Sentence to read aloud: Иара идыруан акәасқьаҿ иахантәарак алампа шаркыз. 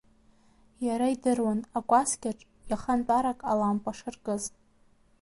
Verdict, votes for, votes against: accepted, 2, 0